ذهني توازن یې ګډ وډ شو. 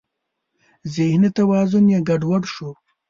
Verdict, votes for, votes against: accepted, 3, 0